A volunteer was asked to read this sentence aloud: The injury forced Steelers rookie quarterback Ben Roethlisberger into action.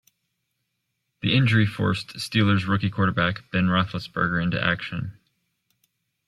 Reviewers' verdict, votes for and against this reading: accepted, 2, 0